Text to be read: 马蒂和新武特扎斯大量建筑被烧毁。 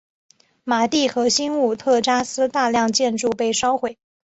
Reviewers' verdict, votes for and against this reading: rejected, 1, 2